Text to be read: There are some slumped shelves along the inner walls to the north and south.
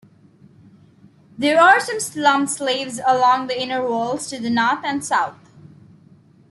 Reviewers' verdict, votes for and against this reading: rejected, 1, 2